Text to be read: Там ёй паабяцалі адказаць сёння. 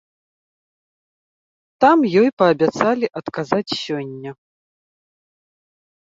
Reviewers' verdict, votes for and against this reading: accepted, 2, 0